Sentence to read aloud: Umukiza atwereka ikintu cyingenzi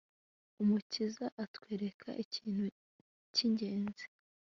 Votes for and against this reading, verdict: 2, 0, accepted